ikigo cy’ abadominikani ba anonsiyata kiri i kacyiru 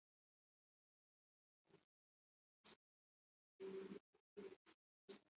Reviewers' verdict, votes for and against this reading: rejected, 0, 2